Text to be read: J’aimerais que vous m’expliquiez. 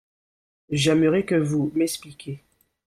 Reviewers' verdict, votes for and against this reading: rejected, 1, 3